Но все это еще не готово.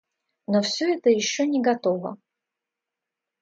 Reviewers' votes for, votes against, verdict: 2, 0, accepted